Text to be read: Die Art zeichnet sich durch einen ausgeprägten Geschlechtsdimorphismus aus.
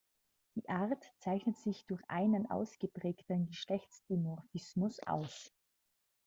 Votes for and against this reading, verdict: 2, 1, accepted